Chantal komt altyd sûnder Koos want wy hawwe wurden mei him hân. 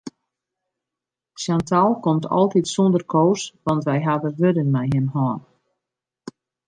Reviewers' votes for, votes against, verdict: 3, 1, accepted